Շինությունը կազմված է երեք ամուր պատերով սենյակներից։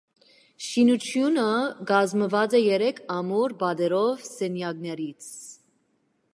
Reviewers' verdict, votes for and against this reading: accepted, 2, 1